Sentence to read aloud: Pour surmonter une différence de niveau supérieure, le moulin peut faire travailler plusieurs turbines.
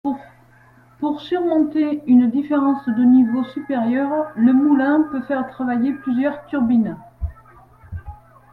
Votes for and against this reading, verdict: 2, 0, accepted